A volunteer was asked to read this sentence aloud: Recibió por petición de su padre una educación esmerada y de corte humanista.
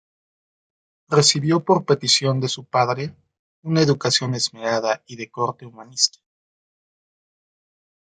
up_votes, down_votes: 2, 0